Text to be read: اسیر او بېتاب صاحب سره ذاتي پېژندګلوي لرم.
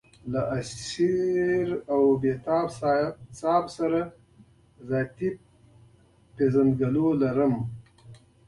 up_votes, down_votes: 2, 0